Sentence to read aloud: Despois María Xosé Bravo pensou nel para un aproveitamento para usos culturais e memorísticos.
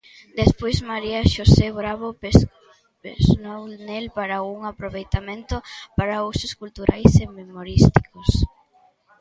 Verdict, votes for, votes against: rejected, 0, 2